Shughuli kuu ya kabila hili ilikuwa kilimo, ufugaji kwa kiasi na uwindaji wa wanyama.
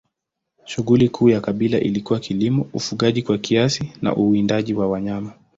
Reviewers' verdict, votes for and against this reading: accepted, 2, 0